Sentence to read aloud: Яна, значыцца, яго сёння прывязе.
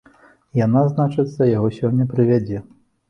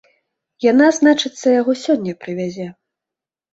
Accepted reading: second